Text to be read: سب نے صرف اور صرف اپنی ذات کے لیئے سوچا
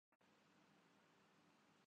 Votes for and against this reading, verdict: 0, 3, rejected